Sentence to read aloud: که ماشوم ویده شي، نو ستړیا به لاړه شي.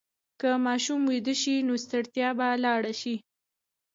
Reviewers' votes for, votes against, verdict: 1, 2, rejected